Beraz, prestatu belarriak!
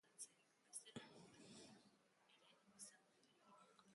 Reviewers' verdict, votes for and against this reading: rejected, 0, 3